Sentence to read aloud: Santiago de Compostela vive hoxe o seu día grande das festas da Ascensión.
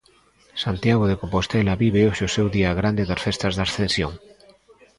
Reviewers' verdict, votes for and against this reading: accepted, 2, 0